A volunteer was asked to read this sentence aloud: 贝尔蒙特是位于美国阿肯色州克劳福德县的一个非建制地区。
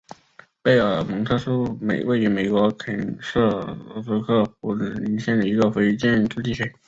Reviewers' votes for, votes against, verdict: 1, 2, rejected